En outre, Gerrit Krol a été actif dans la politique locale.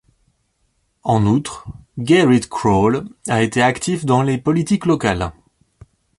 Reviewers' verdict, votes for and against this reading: rejected, 0, 3